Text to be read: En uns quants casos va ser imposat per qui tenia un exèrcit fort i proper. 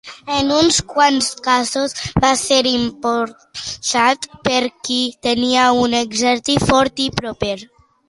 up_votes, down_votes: 0, 2